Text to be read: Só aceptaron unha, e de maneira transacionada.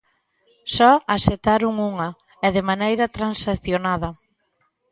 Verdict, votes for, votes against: accepted, 2, 0